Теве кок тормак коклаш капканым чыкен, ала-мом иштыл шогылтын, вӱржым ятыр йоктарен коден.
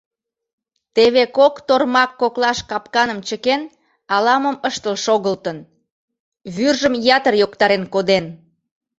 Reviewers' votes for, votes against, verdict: 1, 2, rejected